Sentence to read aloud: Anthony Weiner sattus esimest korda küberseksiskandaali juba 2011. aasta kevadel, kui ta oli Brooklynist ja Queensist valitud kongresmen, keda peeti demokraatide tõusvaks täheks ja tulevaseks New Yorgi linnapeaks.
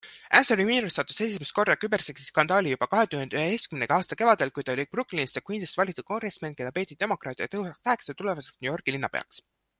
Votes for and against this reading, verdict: 0, 2, rejected